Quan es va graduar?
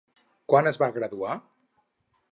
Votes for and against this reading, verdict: 2, 2, rejected